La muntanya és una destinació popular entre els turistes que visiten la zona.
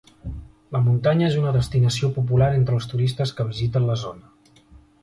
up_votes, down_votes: 2, 0